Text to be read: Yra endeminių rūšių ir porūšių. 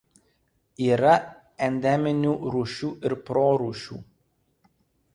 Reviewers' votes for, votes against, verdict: 0, 2, rejected